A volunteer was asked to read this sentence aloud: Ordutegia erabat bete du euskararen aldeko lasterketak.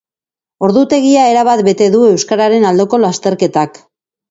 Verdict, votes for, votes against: accepted, 3, 1